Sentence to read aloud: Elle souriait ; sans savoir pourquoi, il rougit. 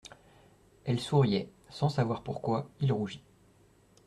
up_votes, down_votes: 2, 0